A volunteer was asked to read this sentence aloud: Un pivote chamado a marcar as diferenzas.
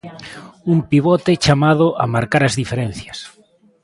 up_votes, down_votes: 1, 2